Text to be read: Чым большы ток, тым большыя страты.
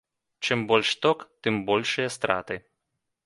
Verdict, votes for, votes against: rejected, 1, 2